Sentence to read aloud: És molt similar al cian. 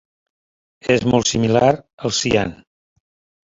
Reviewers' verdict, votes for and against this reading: accepted, 4, 0